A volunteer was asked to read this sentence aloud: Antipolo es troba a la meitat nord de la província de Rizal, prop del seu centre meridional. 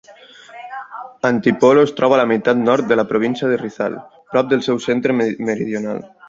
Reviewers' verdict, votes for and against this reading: rejected, 0, 2